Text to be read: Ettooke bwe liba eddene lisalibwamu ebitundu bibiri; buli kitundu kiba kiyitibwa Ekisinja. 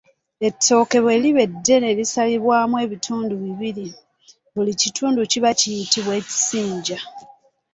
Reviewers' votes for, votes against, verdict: 2, 0, accepted